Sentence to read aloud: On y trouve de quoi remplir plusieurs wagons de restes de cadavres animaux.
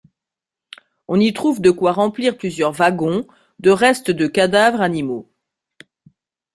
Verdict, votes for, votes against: rejected, 1, 2